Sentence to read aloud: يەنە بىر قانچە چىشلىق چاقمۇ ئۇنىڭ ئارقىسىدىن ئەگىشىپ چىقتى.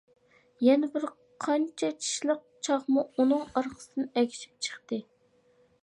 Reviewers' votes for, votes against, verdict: 2, 0, accepted